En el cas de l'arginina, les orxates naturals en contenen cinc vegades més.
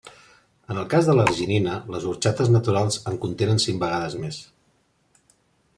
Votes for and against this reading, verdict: 3, 0, accepted